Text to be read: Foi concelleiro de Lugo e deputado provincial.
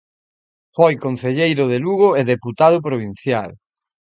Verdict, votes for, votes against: accepted, 2, 0